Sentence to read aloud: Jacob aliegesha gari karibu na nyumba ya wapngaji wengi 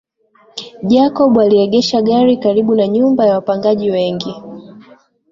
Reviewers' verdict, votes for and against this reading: accepted, 3, 2